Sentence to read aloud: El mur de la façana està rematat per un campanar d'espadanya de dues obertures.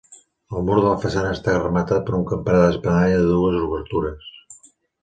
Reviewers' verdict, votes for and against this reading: accepted, 2, 0